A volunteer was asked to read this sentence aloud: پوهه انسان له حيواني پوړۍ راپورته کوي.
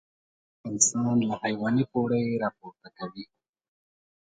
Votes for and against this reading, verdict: 0, 2, rejected